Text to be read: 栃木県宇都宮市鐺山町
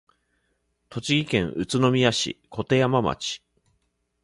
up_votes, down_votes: 3, 0